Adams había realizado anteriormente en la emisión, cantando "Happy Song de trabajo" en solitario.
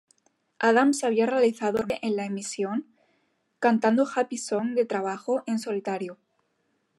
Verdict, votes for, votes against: rejected, 0, 3